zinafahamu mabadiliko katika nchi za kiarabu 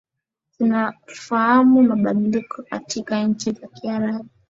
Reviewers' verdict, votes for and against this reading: accepted, 8, 5